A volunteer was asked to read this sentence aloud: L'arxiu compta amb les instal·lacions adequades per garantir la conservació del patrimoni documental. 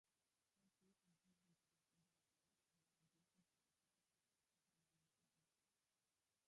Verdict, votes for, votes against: rejected, 0, 2